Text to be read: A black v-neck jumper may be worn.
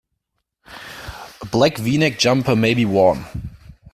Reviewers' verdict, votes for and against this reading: accepted, 2, 0